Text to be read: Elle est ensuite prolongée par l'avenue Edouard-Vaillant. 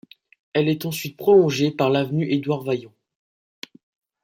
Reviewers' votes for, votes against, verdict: 2, 0, accepted